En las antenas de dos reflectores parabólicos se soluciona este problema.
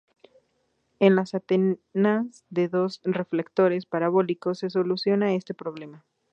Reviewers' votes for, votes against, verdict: 0, 2, rejected